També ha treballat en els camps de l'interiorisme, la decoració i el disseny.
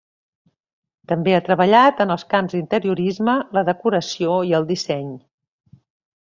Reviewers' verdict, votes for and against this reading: rejected, 0, 2